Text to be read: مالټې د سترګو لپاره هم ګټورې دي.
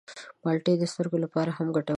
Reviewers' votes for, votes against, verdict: 1, 2, rejected